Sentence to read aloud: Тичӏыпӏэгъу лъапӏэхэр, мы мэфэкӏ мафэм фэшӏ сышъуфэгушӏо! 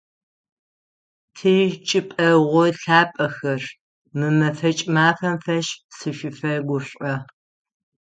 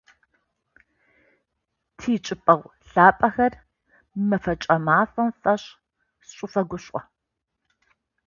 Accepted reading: second